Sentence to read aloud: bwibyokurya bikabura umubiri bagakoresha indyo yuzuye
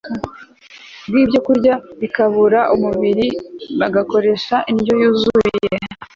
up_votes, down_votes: 2, 0